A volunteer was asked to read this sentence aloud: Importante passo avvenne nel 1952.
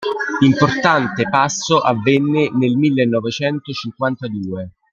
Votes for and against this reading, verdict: 0, 2, rejected